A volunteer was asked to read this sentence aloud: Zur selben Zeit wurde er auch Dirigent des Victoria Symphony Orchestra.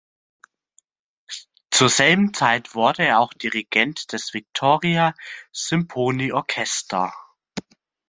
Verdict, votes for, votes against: rejected, 1, 2